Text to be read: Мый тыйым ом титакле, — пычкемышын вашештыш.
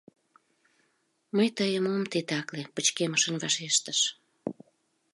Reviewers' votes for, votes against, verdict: 2, 0, accepted